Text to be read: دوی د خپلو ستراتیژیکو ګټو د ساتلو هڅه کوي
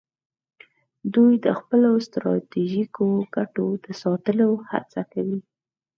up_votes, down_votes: 4, 0